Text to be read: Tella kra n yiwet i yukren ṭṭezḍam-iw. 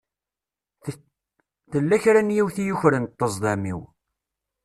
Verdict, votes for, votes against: rejected, 1, 2